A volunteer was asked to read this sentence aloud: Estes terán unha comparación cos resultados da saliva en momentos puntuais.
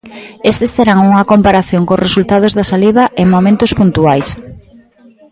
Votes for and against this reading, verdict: 1, 2, rejected